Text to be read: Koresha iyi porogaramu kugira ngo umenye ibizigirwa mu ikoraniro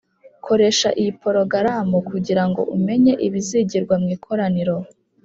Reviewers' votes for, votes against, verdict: 2, 0, accepted